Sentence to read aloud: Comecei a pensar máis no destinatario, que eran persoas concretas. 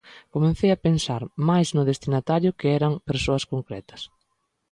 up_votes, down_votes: 1, 2